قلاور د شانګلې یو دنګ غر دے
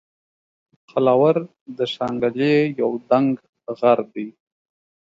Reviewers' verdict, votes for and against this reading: rejected, 1, 2